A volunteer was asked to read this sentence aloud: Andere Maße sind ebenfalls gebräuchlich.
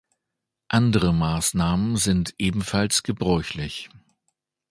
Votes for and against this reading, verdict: 0, 2, rejected